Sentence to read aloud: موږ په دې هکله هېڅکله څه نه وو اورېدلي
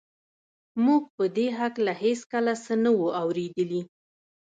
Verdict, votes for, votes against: rejected, 1, 2